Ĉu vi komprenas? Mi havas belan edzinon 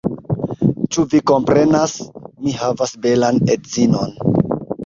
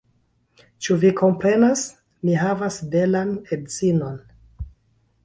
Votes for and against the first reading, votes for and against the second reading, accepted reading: 2, 1, 0, 2, first